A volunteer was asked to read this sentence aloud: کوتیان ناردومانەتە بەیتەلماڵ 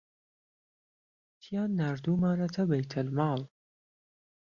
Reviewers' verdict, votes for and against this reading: rejected, 0, 2